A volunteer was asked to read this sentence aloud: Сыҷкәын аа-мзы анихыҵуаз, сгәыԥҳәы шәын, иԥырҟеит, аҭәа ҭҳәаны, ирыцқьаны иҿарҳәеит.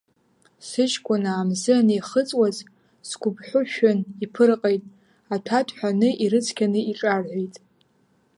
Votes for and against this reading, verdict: 0, 2, rejected